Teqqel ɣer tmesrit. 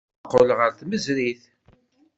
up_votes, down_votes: 1, 2